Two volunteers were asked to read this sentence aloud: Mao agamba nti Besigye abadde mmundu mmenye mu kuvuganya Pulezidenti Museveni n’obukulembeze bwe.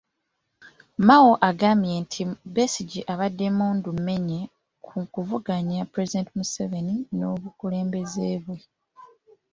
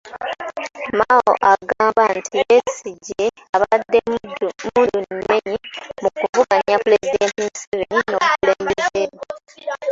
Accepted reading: first